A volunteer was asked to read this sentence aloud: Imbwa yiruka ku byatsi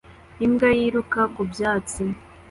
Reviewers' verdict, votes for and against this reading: accepted, 2, 0